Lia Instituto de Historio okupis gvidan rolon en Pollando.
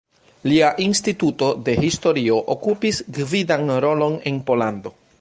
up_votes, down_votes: 0, 2